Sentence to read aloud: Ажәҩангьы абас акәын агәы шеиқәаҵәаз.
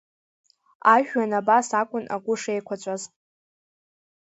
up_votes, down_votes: 1, 2